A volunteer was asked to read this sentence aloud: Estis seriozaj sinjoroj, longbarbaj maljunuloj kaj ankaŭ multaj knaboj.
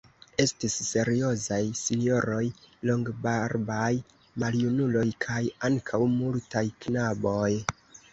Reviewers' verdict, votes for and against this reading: accepted, 2, 1